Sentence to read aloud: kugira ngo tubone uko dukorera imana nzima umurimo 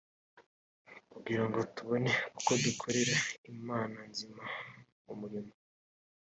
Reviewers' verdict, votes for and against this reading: accepted, 3, 0